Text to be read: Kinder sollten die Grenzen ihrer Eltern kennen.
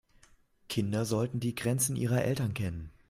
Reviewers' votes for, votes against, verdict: 2, 0, accepted